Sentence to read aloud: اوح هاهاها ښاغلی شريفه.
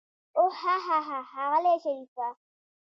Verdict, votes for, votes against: accepted, 2, 0